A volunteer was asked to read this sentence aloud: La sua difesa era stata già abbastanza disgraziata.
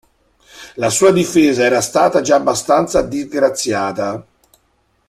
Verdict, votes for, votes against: accepted, 2, 0